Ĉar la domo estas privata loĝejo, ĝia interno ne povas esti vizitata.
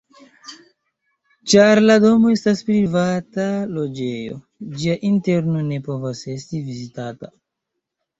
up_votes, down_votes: 2, 0